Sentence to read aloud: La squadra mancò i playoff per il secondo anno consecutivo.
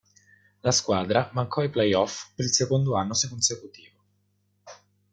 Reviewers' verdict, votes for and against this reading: rejected, 0, 2